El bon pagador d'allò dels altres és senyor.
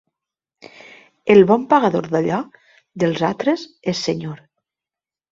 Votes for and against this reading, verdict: 2, 0, accepted